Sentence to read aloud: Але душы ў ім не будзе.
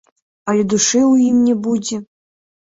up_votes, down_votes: 2, 1